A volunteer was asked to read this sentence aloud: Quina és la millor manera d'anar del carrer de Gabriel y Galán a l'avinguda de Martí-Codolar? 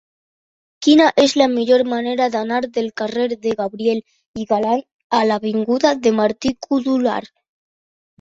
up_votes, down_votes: 2, 0